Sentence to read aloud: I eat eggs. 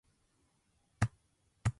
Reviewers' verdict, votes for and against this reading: rejected, 0, 2